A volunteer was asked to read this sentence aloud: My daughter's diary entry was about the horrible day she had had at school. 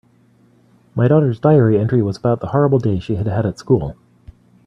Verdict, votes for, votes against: accepted, 2, 1